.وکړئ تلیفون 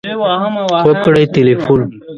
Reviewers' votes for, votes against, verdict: 0, 2, rejected